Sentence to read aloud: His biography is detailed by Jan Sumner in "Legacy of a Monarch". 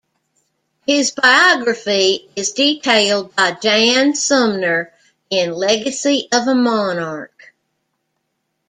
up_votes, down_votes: 2, 0